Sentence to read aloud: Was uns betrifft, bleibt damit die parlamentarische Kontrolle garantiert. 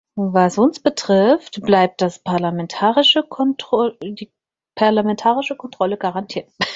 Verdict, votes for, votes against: rejected, 0, 6